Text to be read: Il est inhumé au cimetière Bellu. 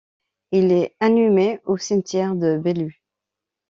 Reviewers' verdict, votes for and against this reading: rejected, 1, 2